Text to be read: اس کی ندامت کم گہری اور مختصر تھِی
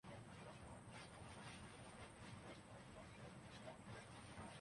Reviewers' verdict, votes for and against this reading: rejected, 0, 2